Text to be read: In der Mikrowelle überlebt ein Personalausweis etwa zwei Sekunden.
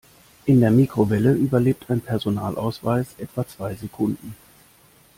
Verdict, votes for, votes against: accepted, 3, 0